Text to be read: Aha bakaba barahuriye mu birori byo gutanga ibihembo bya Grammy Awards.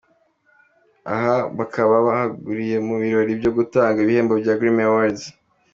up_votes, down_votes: 2, 1